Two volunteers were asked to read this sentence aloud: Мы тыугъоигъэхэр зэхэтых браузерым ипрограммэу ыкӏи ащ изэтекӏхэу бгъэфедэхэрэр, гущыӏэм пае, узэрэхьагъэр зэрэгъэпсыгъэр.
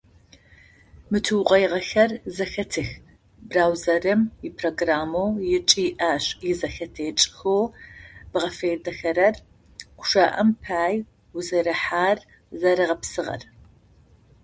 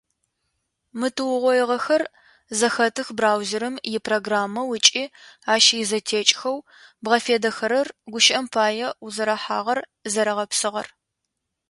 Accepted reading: second